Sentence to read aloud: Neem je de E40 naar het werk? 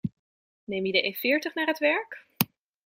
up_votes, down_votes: 0, 2